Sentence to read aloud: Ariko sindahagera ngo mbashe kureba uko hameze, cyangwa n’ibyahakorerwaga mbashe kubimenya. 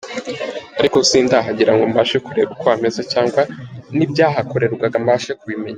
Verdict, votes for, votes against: accepted, 2, 0